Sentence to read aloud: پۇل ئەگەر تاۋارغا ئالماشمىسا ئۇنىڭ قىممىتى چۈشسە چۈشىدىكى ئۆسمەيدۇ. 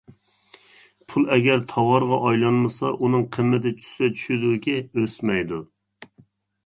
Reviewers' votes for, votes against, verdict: 0, 2, rejected